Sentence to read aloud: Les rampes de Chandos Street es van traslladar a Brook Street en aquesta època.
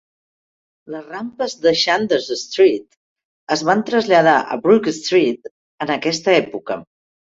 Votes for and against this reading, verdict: 2, 0, accepted